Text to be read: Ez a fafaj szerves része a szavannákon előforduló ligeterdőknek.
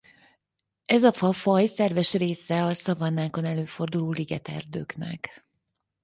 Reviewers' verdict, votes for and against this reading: accepted, 4, 0